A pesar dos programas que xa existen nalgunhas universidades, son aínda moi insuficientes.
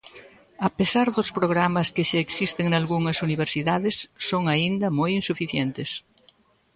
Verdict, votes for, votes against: rejected, 1, 2